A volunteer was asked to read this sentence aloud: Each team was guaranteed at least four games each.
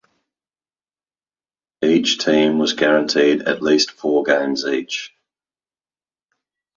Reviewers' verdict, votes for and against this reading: accepted, 2, 0